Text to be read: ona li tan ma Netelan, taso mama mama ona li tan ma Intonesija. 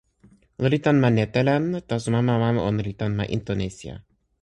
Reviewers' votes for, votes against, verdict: 2, 0, accepted